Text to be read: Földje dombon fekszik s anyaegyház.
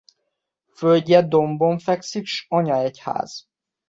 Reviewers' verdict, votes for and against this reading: accepted, 2, 0